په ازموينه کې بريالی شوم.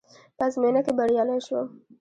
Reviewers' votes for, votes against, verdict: 0, 2, rejected